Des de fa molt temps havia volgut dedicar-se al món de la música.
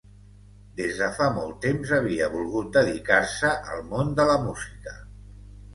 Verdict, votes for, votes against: accepted, 2, 0